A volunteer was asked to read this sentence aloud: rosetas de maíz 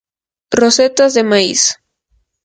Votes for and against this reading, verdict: 0, 2, rejected